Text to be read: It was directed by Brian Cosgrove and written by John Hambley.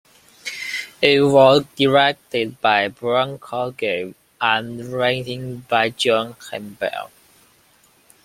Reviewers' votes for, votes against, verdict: 1, 2, rejected